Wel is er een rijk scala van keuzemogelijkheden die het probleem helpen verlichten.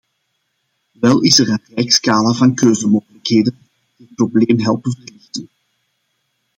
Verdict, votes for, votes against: rejected, 0, 2